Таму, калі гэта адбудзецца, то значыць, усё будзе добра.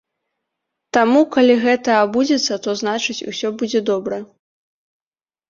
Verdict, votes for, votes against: rejected, 0, 2